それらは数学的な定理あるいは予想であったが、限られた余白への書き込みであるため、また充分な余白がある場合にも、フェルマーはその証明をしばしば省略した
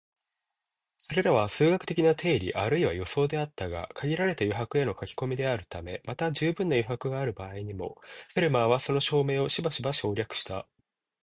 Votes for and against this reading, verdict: 2, 0, accepted